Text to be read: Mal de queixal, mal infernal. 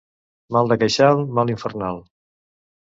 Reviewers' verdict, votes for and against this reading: accepted, 2, 1